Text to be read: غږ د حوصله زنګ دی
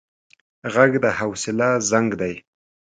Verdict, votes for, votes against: accepted, 2, 0